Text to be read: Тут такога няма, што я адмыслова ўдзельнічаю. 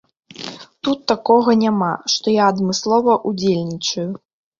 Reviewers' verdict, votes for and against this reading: accepted, 2, 0